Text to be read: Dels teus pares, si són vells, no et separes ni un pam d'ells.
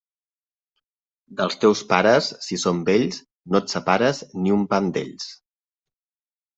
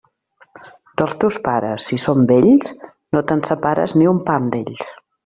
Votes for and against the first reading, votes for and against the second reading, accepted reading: 2, 0, 1, 2, first